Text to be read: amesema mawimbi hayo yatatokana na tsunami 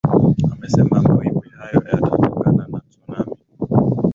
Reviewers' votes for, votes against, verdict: 2, 0, accepted